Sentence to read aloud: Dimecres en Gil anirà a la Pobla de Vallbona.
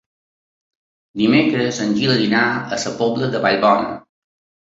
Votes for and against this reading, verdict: 2, 3, rejected